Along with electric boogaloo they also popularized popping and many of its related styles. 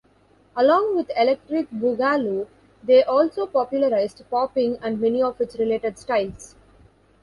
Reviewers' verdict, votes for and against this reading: accepted, 2, 0